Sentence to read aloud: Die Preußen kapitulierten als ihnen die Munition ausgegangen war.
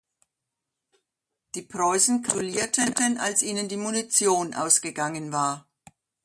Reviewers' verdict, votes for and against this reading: rejected, 0, 2